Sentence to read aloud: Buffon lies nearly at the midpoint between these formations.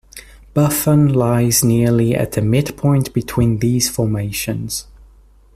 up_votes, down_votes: 2, 0